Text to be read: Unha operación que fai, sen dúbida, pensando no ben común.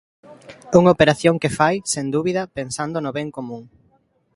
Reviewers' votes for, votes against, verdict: 2, 0, accepted